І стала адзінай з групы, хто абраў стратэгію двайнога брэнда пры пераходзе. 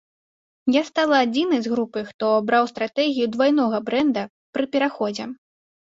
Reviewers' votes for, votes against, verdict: 1, 2, rejected